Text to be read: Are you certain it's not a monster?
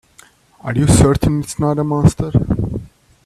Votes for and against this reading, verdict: 1, 2, rejected